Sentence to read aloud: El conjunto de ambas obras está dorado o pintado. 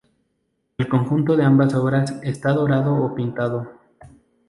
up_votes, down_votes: 2, 0